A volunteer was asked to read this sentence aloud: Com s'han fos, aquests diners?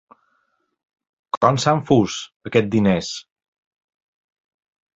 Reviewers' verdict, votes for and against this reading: rejected, 0, 2